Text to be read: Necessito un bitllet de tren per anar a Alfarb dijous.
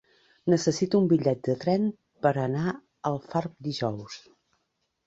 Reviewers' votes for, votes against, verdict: 2, 0, accepted